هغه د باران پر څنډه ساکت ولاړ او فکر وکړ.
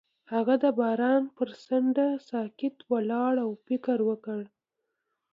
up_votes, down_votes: 2, 0